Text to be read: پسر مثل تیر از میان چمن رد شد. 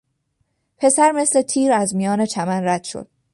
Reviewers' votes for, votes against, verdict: 2, 0, accepted